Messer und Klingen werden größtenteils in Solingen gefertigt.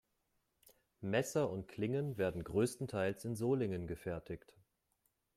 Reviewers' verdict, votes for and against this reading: accepted, 3, 0